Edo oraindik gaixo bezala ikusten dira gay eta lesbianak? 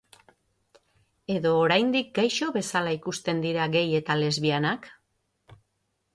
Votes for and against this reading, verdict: 6, 0, accepted